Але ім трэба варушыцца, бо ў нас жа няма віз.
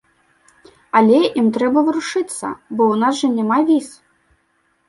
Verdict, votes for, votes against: accepted, 2, 1